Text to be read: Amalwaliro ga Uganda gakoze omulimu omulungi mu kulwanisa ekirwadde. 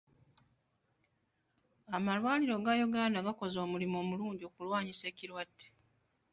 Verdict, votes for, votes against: rejected, 0, 2